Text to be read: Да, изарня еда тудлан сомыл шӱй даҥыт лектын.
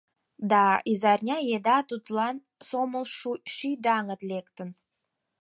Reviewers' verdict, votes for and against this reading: rejected, 2, 4